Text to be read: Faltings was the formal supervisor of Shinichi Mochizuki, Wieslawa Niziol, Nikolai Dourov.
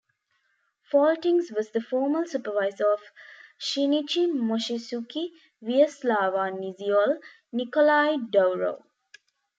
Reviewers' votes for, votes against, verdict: 0, 2, rejected